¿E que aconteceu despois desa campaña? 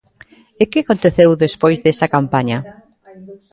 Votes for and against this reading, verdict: 2, 1, accepted